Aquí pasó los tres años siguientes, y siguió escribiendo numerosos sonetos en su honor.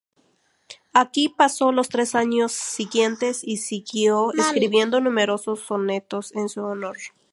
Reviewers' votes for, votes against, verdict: 2, 0, accepted